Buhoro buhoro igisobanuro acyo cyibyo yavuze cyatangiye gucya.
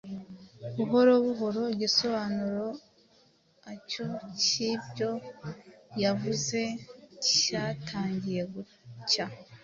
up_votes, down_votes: 2, 0